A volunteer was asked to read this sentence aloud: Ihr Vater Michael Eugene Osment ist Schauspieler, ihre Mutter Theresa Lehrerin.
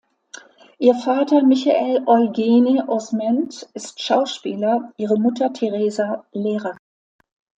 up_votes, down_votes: 1, 2